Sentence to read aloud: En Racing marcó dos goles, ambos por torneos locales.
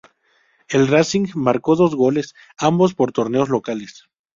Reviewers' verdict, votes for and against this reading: rejected, 0, 2